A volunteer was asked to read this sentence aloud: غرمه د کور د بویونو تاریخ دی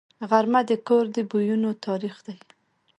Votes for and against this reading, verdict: 3, 1, accepted